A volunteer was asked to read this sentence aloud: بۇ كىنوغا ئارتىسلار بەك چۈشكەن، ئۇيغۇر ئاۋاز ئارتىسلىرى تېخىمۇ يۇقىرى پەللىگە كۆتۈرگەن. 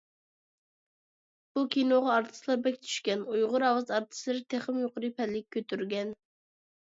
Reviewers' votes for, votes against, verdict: 2, 0, accepted